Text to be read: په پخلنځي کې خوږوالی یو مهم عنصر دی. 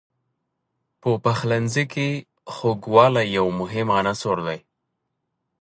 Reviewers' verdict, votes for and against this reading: rejected, 1, 2